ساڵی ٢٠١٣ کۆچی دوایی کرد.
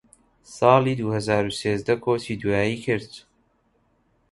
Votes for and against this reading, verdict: 0, 2, rejected